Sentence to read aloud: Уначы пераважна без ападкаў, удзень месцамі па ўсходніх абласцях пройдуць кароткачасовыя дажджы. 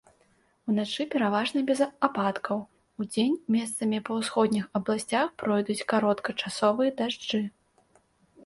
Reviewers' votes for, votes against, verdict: 2, 0, accepted